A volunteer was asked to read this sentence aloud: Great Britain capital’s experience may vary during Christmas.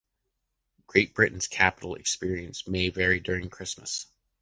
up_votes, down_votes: 2, 0